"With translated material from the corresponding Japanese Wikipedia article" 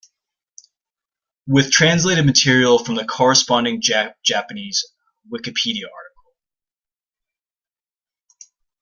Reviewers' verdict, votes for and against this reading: rejected, 1, 2